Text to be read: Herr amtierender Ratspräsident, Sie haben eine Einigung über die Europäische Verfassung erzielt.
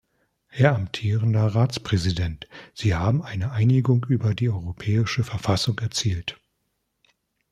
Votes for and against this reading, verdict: 2, 0, accepted